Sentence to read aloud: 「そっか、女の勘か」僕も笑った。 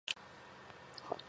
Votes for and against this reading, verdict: 0, 2, rejected